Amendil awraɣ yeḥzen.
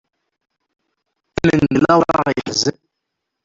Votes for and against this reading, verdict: 0, 2, rejected